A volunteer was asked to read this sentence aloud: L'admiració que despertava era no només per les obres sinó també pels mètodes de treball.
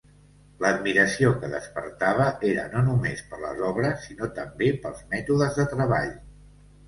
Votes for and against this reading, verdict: 2, 0, accepted